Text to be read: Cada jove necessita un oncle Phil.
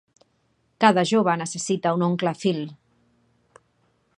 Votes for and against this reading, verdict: 2, 0, accepted